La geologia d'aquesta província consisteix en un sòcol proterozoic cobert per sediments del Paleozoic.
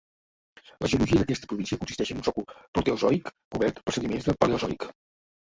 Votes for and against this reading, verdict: 0, 2, rejected